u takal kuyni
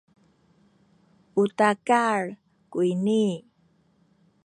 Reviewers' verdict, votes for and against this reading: rejected, 1, 2